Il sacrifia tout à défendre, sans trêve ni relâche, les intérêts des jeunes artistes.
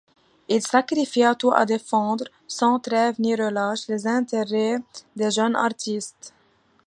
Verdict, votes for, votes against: accepted, 2, 0